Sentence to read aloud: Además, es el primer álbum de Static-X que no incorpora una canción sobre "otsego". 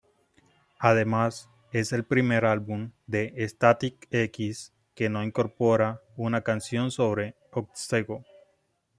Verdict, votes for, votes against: accepted, 2, 0